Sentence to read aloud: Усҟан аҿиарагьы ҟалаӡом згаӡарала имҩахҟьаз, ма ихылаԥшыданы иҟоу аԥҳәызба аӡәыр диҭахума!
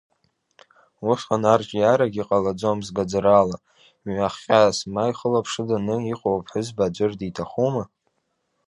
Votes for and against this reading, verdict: 0, 2, rejected